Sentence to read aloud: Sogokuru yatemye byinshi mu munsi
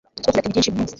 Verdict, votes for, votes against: rejected, 1, 2